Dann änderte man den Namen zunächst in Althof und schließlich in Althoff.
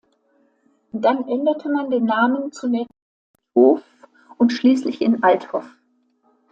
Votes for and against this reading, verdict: 0, 2, rejected